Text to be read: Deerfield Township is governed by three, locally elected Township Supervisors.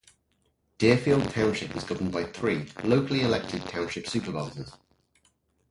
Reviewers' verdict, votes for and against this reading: rejected, 0, 2